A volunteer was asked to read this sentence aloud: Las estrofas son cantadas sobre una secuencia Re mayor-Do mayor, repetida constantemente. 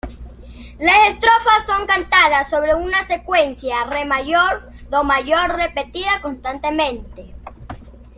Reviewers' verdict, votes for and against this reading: accepted, 2, 0